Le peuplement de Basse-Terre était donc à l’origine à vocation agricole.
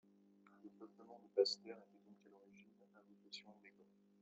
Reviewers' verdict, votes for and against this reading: rejected, 1, 2